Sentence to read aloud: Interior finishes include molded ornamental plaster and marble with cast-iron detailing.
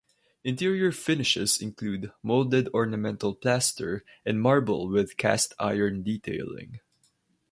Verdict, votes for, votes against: rejected, 2, 2